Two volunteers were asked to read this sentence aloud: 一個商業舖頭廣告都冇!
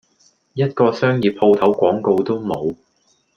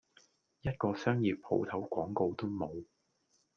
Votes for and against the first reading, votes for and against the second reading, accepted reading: 2, 0, 1, 2, first